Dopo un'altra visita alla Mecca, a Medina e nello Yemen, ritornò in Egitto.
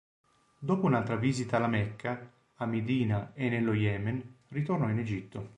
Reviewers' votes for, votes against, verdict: 2, 0, accepted